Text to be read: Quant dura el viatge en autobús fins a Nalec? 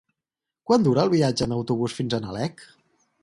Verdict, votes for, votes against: accepted, 4, 0